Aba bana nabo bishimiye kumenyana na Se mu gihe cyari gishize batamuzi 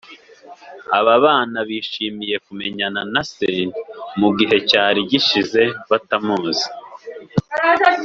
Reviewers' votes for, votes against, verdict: 2, 1, accepted